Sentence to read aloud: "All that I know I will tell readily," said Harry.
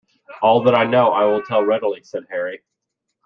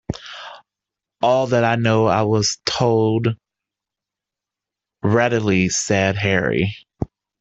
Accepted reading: first